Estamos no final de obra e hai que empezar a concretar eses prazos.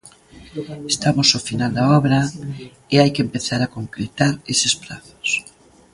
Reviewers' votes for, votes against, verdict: 0, 2, rejected